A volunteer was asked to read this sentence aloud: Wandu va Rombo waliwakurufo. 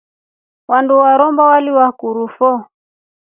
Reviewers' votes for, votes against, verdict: 2, 0, accepted